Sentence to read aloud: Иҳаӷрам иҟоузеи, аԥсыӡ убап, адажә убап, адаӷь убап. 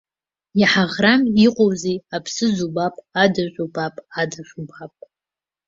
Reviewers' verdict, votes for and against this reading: accepted, 2, 1